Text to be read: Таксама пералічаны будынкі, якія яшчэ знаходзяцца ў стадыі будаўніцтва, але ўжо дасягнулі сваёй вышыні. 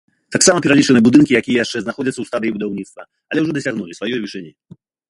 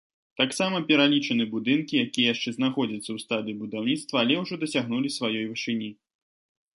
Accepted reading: second